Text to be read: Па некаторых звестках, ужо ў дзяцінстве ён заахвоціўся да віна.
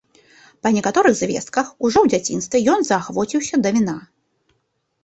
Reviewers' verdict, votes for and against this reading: accepted, 2, 1